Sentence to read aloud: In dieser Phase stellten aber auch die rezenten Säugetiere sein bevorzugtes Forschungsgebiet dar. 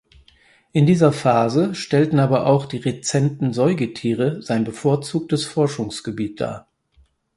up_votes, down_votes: 4, 0